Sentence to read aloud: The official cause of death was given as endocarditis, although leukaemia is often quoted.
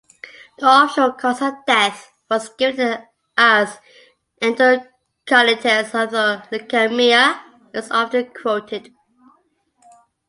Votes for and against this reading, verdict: 0, 2, rejected